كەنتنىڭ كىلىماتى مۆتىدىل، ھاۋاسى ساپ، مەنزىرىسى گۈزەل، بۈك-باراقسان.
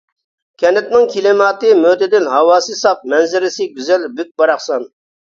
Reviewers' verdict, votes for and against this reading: accepted, 2, 0